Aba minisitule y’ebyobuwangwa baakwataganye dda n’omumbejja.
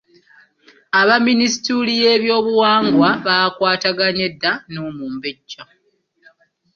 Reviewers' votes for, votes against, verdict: 2, 0, accepted